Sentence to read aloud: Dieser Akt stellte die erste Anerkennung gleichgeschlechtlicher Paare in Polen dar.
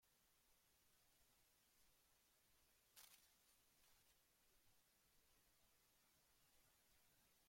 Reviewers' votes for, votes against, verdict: 0, 2, rejected